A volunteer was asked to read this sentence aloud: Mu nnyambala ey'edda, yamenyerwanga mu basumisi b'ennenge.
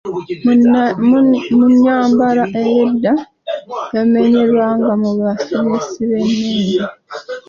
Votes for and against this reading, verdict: 0, 2, rejected